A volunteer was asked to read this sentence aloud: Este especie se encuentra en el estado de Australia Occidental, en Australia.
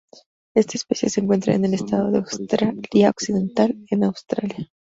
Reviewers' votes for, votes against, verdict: 2, 0, accepted